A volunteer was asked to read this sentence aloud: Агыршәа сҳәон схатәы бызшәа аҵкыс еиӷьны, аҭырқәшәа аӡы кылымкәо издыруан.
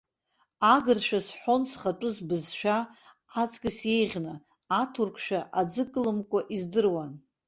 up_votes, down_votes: 0, 2